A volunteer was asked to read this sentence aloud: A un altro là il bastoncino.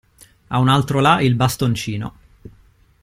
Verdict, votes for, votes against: accepted, 2, 0